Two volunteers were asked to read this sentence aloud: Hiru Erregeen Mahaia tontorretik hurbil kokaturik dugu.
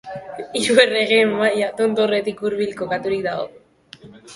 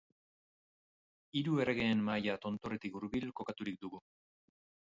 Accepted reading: second